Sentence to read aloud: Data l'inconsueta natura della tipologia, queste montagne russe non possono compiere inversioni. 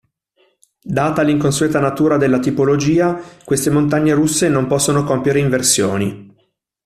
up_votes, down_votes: 2, 0